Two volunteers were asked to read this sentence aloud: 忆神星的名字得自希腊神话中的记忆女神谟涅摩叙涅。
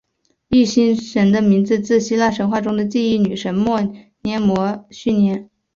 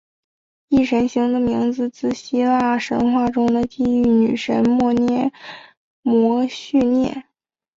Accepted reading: second